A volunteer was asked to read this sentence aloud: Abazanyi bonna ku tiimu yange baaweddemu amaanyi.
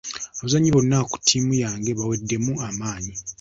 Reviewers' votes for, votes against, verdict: 0, 2, rejected